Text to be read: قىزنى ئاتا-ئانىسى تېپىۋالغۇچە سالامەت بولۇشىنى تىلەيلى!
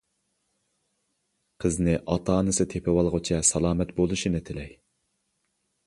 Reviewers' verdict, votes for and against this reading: rejected, 0, 2